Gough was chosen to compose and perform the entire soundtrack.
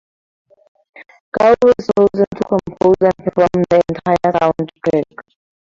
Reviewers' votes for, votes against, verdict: 0, 4, rejected